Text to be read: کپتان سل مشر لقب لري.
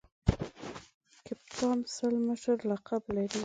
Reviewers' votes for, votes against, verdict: 2, 1, accepted